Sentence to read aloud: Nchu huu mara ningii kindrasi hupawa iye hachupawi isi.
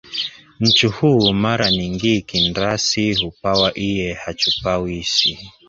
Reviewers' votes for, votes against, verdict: 6, 1, accepted